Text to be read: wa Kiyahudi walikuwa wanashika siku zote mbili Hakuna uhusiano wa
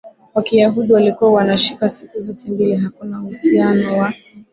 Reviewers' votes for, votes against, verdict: 2, 0, accepted